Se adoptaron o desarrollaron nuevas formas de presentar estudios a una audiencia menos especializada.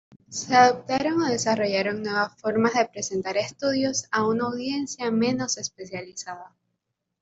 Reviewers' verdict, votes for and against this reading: accepted, 2, 0